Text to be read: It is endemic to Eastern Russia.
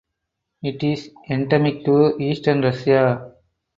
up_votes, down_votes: 4, 6